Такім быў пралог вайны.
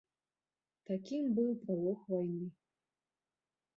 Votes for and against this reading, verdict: 0, 2, rejected